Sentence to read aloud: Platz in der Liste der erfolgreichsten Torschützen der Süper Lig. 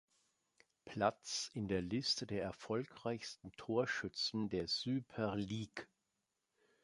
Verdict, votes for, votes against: accepted, 2, 1